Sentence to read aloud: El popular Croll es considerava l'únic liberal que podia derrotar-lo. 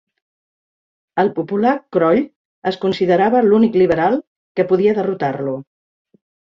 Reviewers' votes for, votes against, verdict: 3, 0, accepted